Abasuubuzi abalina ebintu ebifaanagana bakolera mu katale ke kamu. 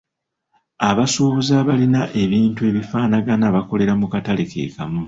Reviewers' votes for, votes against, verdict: 2, 1, accepted